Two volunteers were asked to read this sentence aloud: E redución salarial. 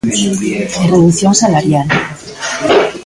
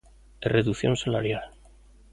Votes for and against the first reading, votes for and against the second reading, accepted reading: 0, 2, 3, 0, second